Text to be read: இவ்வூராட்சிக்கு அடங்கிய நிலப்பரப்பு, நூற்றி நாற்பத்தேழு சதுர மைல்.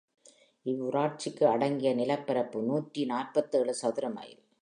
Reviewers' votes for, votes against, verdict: 2, 0, accepted